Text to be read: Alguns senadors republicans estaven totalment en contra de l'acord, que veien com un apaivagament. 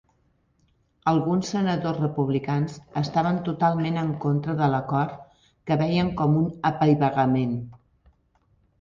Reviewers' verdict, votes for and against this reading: accepted, 3, 0